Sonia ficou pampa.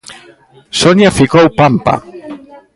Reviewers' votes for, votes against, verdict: 0, 2, rejected